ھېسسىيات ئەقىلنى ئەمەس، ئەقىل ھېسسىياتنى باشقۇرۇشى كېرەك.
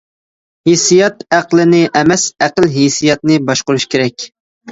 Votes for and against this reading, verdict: 0, 2, rejected